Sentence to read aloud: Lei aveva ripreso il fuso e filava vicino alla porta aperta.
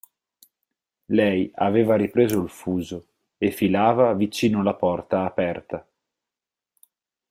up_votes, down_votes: 4, 0